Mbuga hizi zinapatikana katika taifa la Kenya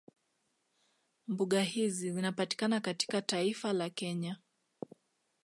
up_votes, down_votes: 2, 0